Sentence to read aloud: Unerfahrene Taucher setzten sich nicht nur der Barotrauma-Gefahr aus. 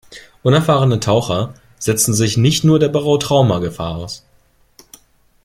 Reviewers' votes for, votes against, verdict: 2, 0, accepted